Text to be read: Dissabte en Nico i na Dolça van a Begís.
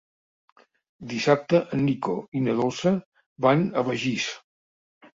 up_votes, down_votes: 3, 0